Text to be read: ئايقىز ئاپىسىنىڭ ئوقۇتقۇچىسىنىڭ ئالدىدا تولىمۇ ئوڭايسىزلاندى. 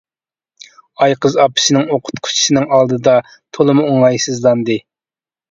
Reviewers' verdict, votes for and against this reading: accepted, 2, 0